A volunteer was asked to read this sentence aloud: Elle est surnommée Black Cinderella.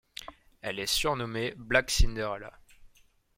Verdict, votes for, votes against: accepted, 2, 0